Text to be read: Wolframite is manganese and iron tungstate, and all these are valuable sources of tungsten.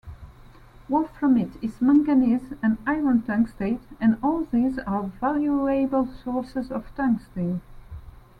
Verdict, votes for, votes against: rejected, 1, 2